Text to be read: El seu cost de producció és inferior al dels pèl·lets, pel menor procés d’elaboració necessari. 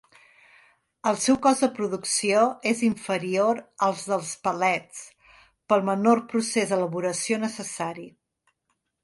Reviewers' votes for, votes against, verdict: 1, 2, rejected